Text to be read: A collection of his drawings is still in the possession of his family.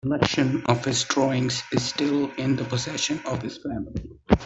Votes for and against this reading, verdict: 0, 2, rejected